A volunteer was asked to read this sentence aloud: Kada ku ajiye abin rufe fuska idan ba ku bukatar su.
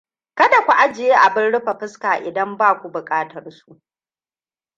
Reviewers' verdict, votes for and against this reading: rejected, 1, 2